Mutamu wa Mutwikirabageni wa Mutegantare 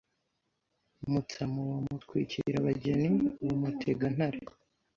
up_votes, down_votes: 2, 0